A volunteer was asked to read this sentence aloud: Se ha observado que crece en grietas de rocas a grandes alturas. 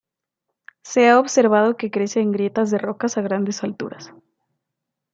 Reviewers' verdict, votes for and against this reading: accepted, 2, 0